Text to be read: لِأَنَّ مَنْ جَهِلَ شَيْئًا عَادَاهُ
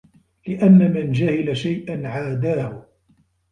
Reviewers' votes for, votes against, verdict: 2, 0, accepted